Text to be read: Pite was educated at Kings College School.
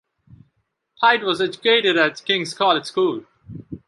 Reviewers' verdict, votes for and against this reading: accepted, 2, 0